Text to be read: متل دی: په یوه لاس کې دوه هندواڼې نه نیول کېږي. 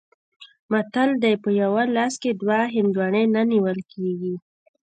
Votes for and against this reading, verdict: 2, 0, accepted